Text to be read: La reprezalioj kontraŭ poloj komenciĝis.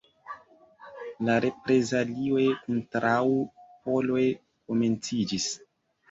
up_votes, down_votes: 1, 2